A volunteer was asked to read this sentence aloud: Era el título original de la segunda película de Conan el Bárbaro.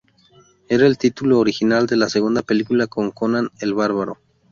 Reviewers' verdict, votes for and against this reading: rejected, 0, 2